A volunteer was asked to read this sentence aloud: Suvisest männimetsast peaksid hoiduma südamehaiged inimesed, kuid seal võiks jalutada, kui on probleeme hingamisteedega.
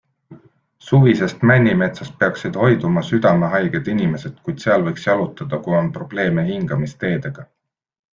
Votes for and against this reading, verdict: 2, 0, accepted